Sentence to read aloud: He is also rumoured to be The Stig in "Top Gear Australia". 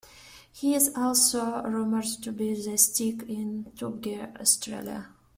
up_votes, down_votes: 1, 2